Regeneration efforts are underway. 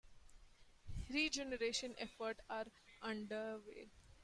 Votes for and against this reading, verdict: 0, 2, rejected